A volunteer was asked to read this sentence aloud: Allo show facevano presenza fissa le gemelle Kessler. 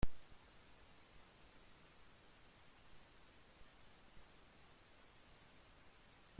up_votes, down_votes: 0, 2